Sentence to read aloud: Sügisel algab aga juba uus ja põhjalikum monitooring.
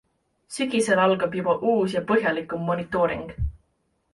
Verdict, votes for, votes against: accepted, 2, 0